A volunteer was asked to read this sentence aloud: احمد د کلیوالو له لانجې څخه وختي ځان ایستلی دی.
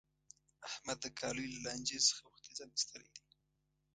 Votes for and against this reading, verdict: 1, 2, rejected